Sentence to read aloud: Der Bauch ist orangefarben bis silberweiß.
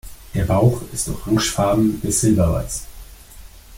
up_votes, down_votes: 2, 0